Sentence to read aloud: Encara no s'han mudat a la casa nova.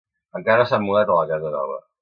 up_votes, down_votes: 2, 1